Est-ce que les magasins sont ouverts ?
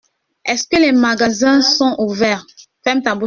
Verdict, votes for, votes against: rejected, 1, 2